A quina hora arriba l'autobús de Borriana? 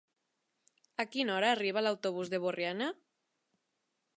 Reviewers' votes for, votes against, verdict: 3, 0, accepted